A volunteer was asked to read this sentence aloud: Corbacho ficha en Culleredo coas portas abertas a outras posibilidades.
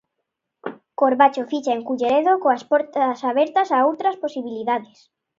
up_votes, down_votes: 2, 0